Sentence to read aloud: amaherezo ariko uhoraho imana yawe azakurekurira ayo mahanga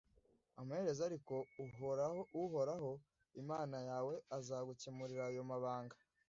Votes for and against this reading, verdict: 1, 2, rejected